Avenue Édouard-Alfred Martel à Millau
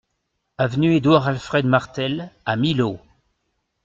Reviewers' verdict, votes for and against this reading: rejected, 0, 2